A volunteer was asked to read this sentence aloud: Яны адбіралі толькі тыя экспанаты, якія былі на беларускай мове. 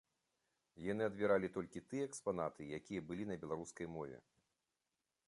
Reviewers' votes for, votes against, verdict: 2, 0, accepted